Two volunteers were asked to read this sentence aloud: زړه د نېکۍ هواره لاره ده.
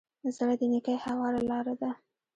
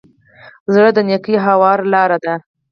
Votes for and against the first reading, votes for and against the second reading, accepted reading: 1, 2, 4, 2, second